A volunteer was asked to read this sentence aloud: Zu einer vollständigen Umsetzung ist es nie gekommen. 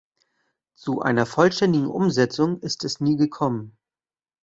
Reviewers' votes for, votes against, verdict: 2, 0, accepted